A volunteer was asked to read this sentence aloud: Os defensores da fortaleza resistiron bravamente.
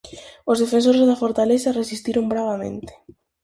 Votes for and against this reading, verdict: 4, 0, accepted